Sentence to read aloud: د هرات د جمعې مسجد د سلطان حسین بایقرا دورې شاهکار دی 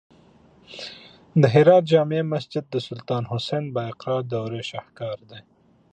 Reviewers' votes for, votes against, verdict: 2, 1, accepted